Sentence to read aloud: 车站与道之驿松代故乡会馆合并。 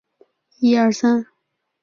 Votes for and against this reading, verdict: 0, 2, rejected